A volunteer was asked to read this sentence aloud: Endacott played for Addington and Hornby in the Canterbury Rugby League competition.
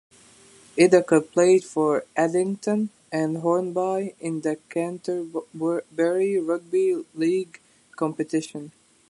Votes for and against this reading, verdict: 0, 2, rejected